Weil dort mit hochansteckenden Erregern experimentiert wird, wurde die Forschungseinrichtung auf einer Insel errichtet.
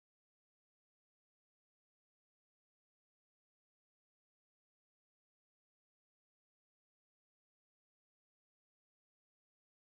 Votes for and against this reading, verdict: 0, 2, rejected